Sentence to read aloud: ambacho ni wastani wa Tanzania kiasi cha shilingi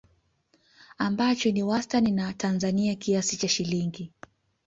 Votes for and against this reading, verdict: 2, 0, accepted